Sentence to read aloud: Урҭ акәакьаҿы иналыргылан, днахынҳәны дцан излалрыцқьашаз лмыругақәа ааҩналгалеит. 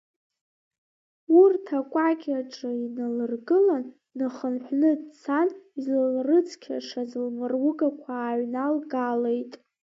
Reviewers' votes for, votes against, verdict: 2, 1, accepted